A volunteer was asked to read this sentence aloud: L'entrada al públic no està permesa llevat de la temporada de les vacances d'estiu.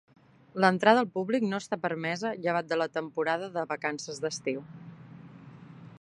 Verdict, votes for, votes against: rejected, 0, 2